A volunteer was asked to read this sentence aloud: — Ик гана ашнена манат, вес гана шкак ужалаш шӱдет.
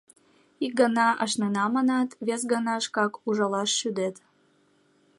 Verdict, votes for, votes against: accepted, 2, 0